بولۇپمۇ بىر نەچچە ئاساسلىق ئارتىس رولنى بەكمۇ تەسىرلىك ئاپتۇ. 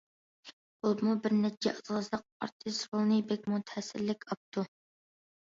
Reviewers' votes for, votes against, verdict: 2, 0, accepted